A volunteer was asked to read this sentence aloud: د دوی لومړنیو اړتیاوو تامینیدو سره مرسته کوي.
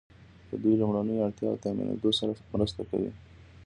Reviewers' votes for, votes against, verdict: 1, 2, rejected